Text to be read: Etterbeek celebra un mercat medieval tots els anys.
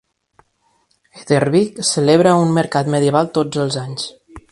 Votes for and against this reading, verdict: 2, 0, accepted